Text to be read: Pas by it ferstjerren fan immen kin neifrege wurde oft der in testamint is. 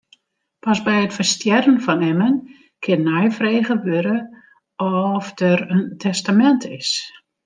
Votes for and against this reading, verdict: 0, 2, rejected